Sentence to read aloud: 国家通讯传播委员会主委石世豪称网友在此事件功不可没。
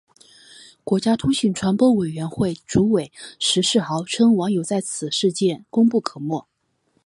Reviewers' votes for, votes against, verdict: 2, 0, accepted